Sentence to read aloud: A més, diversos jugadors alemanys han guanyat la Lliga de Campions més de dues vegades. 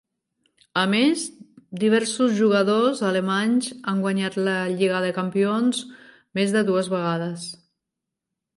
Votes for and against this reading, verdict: 3, 0, accepted